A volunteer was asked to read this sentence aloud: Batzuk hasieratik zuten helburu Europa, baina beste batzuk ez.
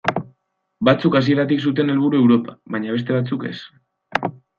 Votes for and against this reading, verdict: 2, 0, accepted